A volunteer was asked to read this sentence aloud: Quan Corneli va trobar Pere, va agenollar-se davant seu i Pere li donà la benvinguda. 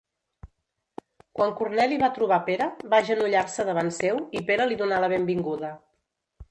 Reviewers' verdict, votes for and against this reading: rejected, 1, 2